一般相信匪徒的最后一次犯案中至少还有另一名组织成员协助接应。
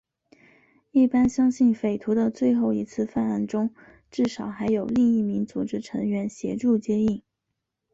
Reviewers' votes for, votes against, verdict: 4, 0, accepted